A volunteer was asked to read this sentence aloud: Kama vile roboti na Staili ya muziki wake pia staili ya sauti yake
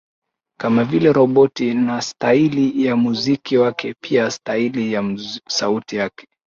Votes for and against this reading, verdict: 1, 2, rejected